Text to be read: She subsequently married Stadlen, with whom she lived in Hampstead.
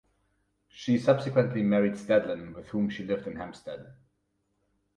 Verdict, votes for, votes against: rejected, 2, 4